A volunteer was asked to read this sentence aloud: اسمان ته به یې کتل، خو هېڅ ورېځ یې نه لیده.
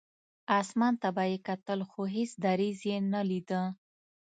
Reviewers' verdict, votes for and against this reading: rejected, 1, 2